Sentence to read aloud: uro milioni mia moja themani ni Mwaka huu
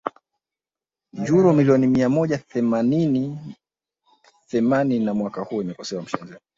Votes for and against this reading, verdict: 1, 3, rejected